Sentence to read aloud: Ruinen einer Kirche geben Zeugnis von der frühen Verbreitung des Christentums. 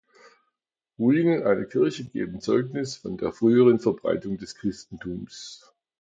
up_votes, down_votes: 0, 2